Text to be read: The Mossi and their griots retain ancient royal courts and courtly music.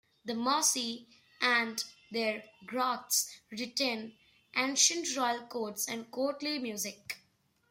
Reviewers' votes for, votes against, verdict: 3, 0, accepted